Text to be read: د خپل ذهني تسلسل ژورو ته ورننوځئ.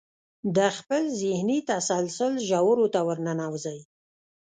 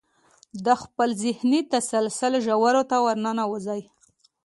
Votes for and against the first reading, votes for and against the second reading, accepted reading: 1, 2, 2, 1, second